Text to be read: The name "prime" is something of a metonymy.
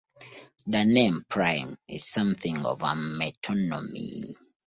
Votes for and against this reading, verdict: 0, 2, rejected